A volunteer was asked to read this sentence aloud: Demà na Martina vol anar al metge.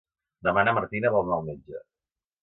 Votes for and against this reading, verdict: 2, 0, accepted